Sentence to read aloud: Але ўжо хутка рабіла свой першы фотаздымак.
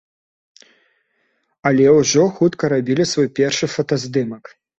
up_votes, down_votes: 0, 2